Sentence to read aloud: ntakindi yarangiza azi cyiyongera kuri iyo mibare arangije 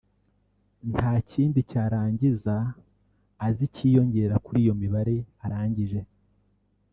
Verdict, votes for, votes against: rejected, 1, 2